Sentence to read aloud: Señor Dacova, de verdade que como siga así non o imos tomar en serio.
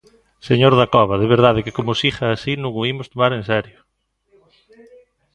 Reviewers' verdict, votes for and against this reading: rejected, 0, 2